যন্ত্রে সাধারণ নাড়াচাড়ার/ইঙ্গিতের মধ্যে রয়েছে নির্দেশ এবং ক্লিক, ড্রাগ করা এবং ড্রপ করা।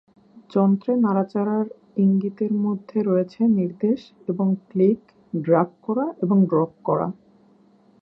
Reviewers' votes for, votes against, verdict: 1, 2, rejected